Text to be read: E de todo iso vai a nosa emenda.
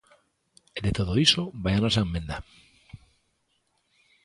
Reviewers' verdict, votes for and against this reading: rejected, 1, 2